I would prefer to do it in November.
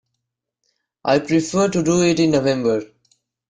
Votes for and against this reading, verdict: 0, 2, rejected